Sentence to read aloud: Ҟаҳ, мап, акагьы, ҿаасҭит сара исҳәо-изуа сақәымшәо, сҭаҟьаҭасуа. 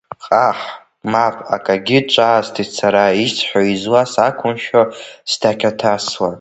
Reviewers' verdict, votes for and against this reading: rejected, 0, 2